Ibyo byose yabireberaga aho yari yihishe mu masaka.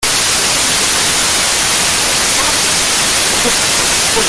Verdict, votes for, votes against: rejected, 0, 3